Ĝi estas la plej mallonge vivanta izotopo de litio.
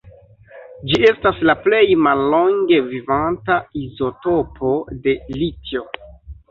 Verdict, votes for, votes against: rejected, 1, 2